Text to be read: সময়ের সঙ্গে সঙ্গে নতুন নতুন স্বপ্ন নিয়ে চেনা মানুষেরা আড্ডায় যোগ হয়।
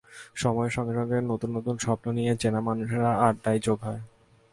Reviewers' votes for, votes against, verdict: 2, 0, accepted